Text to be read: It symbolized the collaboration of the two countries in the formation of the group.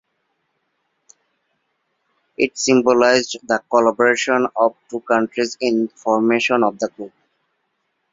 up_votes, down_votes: 1, 2